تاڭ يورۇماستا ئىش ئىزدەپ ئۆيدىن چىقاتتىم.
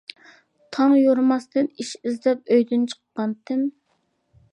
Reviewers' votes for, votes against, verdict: 0, 2, rejected